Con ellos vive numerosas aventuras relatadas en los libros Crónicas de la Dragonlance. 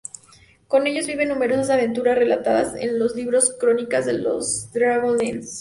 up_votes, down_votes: 0, 2